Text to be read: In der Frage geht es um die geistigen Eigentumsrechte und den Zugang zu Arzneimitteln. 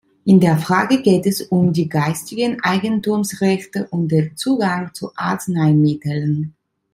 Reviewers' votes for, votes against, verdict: 2, 0, accepted